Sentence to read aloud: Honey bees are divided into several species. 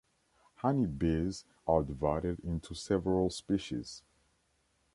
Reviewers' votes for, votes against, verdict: 2, 0, accepted